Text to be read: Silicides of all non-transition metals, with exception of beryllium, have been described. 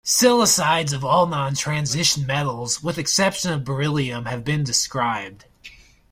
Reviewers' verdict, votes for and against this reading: accepted, 2, 0